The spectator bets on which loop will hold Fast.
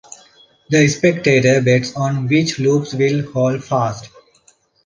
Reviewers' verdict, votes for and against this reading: rejected, 1, 2